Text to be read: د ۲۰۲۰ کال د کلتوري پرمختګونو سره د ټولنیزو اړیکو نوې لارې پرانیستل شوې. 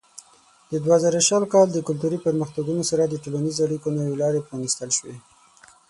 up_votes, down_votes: 0, 2